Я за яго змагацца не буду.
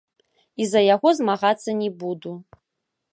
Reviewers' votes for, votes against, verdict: 1, 3, rejected